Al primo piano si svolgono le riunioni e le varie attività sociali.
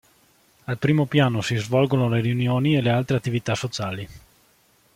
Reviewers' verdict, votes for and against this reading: rejected, 1, 2